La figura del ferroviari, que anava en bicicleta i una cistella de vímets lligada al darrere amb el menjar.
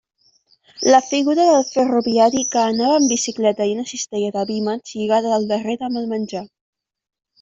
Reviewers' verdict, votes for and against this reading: accepted, 2, 1